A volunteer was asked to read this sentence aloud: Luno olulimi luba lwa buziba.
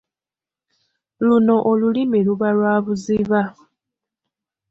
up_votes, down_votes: 2, 0